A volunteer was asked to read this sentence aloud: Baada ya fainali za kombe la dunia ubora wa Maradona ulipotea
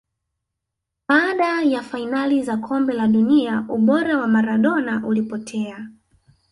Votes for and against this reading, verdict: 2, 0, accepted